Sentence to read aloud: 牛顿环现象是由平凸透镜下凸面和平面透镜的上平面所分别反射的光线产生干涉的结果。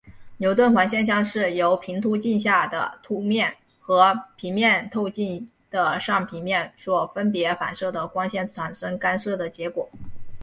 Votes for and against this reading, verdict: 3, 0, accepted